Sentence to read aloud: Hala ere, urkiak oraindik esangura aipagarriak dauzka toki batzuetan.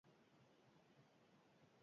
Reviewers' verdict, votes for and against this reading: rejected, 0, 4